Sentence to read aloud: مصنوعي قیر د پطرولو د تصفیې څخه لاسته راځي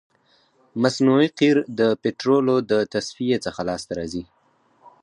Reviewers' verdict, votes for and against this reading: accepted, 4, 0